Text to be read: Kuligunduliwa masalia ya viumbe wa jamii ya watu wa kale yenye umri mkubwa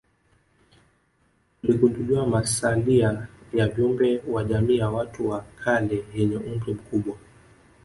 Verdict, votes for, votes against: accepted, 2, 1